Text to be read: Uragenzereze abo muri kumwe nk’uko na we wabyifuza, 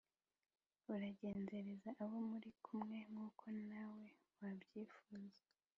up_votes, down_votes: 2, 0